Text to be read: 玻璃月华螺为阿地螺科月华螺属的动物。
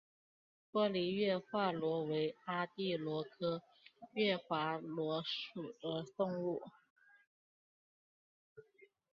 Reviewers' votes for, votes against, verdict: 3, 1, accepted